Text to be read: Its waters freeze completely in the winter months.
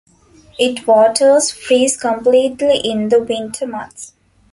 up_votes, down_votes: 0, 2